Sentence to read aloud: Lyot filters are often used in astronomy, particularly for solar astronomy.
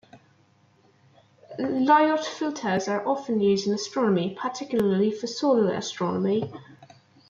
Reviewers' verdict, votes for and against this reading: accepted, 2, 0